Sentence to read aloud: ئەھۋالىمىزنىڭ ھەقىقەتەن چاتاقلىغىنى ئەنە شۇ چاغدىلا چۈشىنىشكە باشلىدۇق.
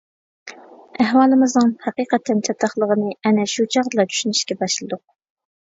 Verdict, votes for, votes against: accepted, 2, 0